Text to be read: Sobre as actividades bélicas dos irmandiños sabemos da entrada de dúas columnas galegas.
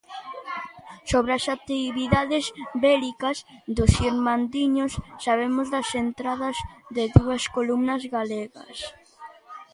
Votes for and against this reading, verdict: 0, 2, rejected